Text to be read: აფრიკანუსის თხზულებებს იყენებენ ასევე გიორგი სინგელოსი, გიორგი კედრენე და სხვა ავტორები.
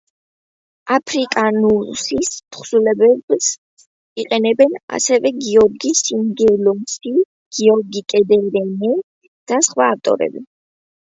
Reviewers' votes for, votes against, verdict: 1, 2, rejected